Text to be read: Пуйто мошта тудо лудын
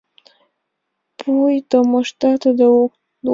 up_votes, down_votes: 0, 2